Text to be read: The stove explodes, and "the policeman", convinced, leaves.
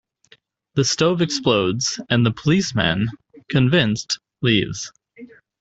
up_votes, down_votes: 2, 0